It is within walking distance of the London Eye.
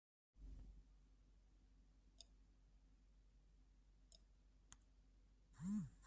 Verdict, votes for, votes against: rejected, 0, 2